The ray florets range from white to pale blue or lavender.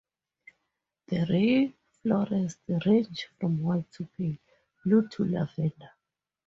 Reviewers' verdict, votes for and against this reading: rejected, 0, 2